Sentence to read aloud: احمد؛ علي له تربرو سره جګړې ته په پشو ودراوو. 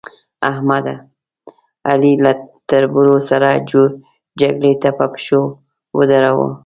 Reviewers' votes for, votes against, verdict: 1, 2, rejected